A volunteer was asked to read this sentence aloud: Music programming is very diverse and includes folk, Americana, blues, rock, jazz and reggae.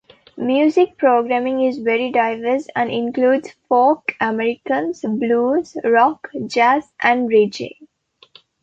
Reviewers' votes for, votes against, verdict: 0, 2, rejected